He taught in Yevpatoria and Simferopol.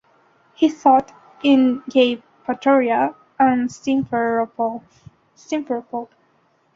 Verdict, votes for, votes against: rejected, 0, 3